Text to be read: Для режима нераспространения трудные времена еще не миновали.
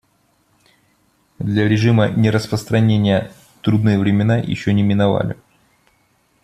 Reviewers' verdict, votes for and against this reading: accepted, 2, 0